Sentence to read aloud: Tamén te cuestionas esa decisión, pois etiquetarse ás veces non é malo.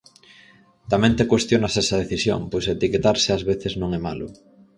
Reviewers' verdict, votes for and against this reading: accepted, 4, 0